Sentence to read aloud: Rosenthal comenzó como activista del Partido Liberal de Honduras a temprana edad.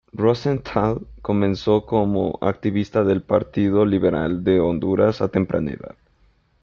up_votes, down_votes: 2, 0